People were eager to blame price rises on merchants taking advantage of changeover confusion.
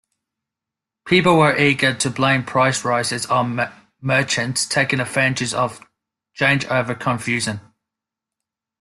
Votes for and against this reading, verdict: 2, 0, accepted